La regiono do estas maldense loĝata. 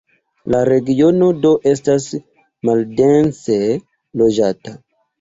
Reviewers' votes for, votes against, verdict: 2, 0, accepted